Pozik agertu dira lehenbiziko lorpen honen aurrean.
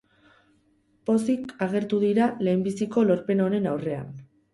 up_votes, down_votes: 2, 0